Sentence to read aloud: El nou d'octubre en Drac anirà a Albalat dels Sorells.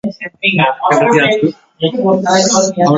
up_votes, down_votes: 0, 2